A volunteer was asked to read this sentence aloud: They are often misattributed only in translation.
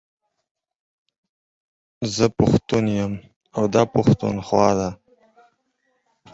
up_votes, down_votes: 0, 4